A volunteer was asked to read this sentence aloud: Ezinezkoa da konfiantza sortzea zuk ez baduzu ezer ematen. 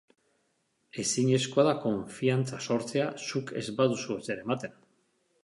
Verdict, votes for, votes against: accepted, 2, 0